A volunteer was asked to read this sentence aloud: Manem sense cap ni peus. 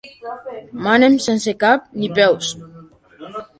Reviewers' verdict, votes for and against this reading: accepted, 2, 0